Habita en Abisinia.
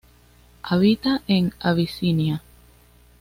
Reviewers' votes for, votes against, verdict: 2, 0, accepted